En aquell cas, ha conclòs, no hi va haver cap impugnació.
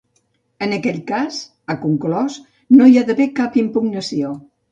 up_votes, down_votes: 0, 2